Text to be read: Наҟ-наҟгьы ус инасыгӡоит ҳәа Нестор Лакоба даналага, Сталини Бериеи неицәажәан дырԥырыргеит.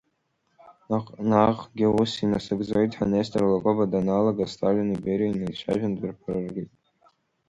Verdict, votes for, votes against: rejected, 0, 2